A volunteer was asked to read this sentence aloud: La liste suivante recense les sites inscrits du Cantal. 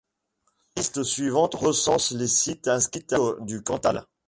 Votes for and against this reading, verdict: 0, 2, rejected